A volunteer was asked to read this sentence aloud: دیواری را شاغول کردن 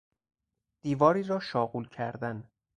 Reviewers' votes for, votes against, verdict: 4, 0, accepted